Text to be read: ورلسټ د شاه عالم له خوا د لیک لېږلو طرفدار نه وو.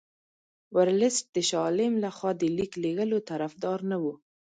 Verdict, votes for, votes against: accepted, 2, 0